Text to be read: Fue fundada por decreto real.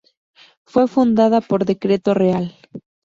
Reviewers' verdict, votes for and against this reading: accepted, 2, 0